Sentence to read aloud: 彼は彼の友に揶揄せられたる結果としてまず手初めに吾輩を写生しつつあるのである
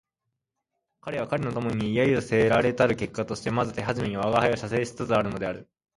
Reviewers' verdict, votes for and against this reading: accepted, 4, 0